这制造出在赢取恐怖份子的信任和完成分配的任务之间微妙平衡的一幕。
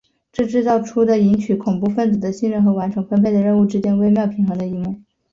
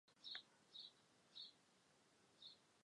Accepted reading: first